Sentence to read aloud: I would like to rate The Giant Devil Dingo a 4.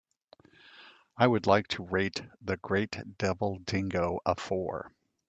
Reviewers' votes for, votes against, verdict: 0, 2, rejected